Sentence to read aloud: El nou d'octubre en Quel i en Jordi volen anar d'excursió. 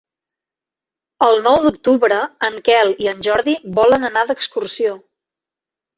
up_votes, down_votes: 3, 0